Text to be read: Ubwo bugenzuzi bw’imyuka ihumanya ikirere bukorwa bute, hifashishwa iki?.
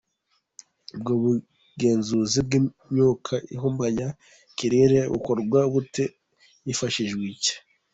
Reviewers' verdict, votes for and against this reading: accepted, 2, 0